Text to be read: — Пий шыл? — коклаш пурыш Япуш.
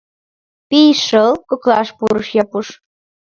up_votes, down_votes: 2, 0